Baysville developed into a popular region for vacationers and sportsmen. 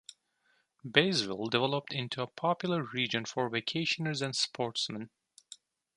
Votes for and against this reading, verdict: 2, 0, accepted